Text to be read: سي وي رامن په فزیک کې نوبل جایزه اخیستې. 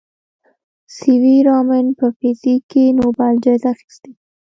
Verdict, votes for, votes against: rejected, 1, 2